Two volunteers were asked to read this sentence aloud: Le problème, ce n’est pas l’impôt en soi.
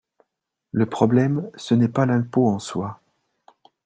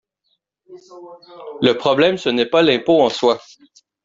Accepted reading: first